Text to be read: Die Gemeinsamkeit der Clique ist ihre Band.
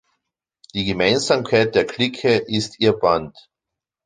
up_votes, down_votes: 0, 2